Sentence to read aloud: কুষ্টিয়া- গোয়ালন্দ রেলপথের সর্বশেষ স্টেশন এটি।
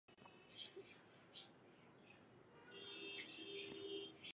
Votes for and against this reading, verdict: 0, 2, rejected